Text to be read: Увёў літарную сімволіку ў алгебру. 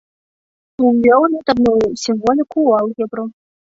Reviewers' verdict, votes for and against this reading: accepted, 2, 1